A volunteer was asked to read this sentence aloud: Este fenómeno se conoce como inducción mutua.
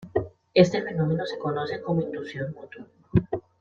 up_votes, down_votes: 2, 0